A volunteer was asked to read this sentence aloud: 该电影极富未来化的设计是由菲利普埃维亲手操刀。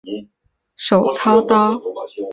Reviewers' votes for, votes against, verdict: 0, 2, rejected